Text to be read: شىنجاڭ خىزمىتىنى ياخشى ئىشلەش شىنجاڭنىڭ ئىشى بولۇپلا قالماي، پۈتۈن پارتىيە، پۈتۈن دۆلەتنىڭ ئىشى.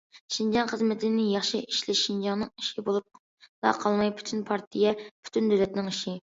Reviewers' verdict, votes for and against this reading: rejected, 1, 2